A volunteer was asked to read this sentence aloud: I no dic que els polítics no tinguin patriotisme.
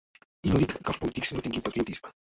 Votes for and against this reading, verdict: 0, 2, rejected